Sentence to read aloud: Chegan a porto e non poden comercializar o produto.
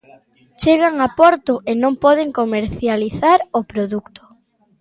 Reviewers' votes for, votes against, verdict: 1, 2, rejected